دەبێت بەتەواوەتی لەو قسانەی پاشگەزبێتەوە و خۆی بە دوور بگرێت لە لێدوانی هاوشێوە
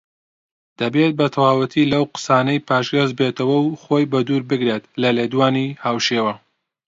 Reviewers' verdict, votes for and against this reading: accepted, 2, 0